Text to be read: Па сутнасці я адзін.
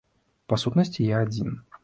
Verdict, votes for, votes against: accepted, 2, 0